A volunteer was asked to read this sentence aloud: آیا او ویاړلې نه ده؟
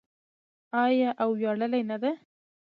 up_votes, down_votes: 2, 0